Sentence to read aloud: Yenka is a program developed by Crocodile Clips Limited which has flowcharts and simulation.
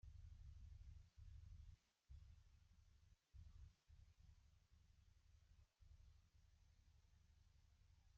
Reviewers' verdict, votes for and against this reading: rejected, 0, 2